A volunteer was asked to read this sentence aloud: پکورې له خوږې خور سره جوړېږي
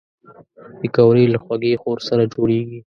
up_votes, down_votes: 0, 2